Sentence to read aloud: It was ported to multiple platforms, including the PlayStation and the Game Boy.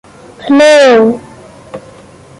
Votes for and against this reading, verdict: 0, 2, rejected